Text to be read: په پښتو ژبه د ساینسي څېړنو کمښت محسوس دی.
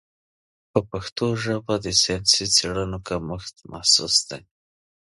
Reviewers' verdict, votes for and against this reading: accepted, 3, 0